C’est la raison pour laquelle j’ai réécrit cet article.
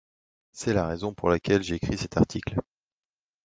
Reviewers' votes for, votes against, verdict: 0, 2, rejected